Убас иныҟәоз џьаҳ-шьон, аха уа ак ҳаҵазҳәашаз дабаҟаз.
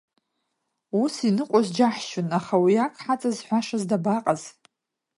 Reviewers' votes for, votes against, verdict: 1, 2, rejected